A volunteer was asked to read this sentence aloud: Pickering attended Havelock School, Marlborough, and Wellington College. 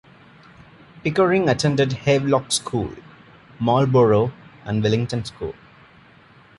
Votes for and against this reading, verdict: 1, 2, rejected